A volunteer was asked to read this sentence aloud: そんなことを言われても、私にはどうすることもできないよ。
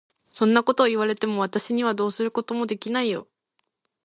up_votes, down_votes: 1, 2